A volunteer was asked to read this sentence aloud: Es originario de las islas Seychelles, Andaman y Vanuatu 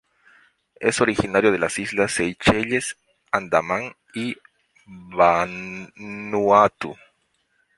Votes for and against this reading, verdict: 0, 2, rejected